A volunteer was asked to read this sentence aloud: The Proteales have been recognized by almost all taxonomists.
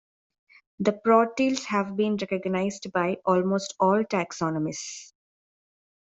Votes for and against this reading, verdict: 2, 1, accepted